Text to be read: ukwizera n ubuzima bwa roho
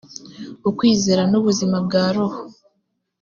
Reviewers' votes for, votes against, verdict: 2, 0, accepted